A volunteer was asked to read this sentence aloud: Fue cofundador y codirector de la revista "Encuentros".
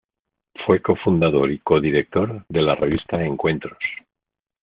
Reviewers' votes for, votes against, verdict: 2, 0, accepted